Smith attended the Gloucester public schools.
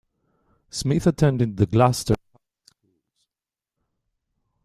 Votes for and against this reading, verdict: 0, 2, rejected